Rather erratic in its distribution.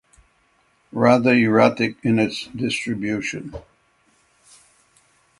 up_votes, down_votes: 6, 0